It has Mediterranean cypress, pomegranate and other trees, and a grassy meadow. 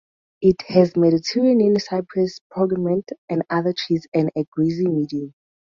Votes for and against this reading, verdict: 0, 4, rejected